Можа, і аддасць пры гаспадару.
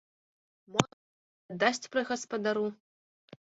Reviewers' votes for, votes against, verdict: 1, 2, rejected